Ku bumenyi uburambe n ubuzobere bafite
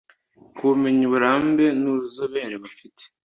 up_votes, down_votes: 2, 0